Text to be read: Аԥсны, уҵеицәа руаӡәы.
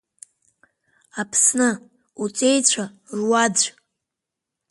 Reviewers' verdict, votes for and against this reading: rejected, 1, 3